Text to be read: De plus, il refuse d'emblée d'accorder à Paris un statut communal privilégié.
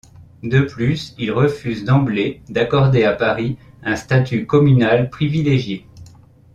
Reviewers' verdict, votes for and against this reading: accepted, 2, 0